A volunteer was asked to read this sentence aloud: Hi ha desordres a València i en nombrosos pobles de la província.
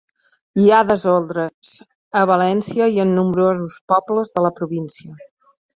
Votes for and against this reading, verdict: 3, 1, accepted